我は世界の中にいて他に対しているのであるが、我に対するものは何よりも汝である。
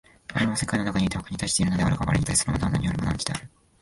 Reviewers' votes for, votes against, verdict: 0, 2, rejected